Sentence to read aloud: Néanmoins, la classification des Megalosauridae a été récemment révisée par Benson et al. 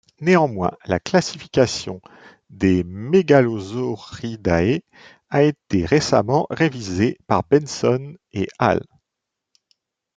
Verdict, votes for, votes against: accepted, 2, 0